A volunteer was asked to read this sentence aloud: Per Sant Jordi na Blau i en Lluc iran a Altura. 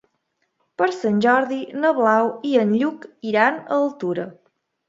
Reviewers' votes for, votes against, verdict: 2, 0, accepted